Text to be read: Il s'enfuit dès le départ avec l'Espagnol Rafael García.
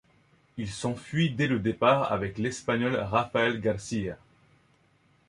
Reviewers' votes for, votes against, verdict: 2, 0, accepted